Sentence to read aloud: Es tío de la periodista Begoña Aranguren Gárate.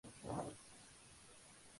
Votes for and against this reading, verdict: 0, 2, rejected